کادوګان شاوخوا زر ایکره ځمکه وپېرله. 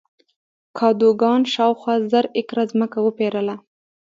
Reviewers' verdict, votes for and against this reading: rejected, 1, 2